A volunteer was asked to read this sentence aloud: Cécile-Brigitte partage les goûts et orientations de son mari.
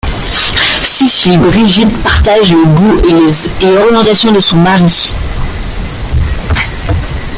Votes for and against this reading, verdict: 0, 2, rejected